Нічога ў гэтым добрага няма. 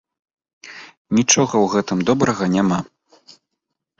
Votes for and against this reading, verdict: 2, 0, accepted